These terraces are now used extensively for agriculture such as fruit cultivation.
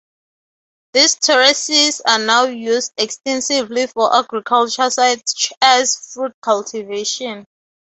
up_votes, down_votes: 2, 0